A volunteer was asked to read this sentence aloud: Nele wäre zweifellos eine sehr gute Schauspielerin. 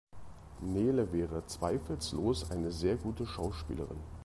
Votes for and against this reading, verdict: 0, 2, rejected